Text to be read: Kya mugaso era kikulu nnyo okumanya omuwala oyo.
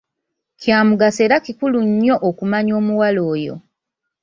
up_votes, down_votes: 2, 0